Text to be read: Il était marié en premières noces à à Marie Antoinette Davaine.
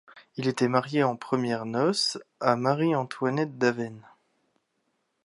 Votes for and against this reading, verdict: 1, 2, rejected